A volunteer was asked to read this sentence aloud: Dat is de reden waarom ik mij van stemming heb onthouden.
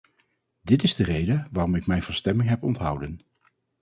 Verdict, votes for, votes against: rejected, 2, 2